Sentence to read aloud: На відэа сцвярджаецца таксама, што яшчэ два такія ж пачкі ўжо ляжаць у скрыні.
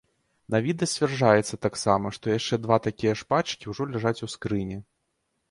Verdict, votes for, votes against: rejected, 1, 2